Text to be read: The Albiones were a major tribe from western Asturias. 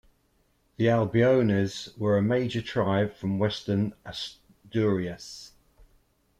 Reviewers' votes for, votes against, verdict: 2, 1, accepted